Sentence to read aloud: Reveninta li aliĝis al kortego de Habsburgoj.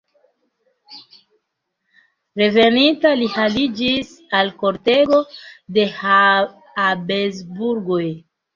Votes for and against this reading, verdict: 0, 2, rejected